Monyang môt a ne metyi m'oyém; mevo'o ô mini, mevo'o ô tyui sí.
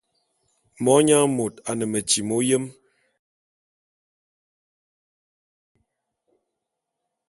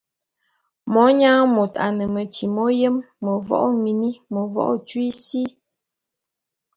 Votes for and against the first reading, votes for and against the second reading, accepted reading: 1, 2, 2, 0, second